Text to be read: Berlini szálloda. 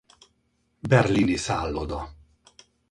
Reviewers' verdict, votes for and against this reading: rejected, 2, 2